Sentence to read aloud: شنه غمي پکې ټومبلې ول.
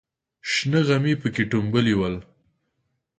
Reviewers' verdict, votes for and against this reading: accepted, 4, 0